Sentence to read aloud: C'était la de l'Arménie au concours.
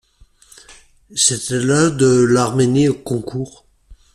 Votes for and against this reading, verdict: 2, 0, accepted